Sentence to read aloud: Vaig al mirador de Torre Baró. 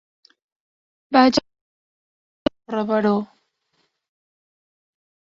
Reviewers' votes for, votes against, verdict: 0, 3, rejected